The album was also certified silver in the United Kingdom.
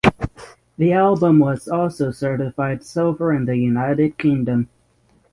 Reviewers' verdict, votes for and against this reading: rejected, 3, 3